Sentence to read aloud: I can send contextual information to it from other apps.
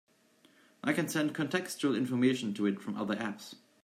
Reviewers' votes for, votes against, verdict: 2, 0, accepted